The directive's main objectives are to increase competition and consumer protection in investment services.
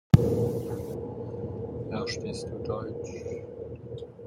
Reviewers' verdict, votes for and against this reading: rejected, 0, 2